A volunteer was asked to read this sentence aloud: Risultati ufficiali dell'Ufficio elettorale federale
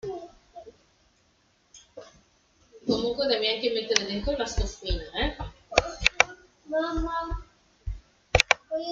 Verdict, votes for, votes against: rejected, 0, 2